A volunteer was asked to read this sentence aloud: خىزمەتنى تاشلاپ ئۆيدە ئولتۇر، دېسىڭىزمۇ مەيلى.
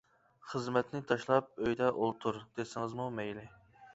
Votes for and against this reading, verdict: 2, 0, accepted